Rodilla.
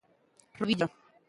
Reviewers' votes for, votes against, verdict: 0, 2, rejected